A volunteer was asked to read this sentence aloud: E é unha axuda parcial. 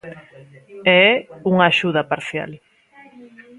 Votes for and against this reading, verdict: 2, 0, accepted